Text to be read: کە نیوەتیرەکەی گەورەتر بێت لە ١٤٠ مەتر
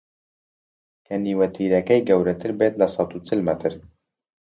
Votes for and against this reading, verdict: 0, 2, rejected